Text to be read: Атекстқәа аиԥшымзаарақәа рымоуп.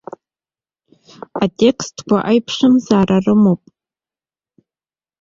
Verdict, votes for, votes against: rejected, 0, 2